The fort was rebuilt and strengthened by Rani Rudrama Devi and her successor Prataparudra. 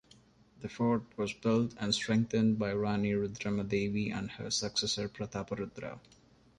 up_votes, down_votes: 0, 2